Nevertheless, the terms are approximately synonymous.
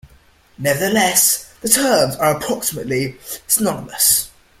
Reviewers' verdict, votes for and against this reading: rejected, 1, 2